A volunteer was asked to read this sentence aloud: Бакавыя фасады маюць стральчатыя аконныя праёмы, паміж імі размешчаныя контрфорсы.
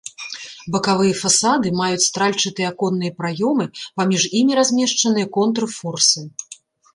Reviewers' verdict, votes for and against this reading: rejected, 0, 2